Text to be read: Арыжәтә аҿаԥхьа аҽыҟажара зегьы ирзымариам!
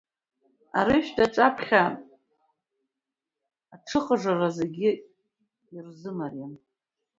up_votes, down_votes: 0, 2